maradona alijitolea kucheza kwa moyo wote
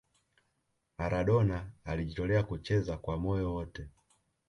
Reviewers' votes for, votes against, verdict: 2, 0, accepted